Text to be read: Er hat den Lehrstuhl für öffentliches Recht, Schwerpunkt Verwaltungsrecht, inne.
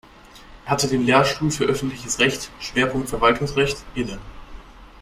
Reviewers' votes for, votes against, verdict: 0, 2, rejected